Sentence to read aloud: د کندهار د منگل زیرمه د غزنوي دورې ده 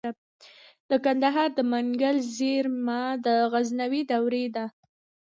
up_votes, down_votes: 2, 1